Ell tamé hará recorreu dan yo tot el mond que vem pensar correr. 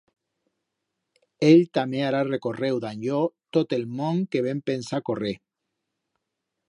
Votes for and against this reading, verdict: 2, 0, accepted